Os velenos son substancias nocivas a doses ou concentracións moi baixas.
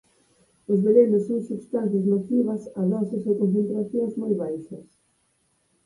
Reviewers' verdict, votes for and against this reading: rejected, 0, 4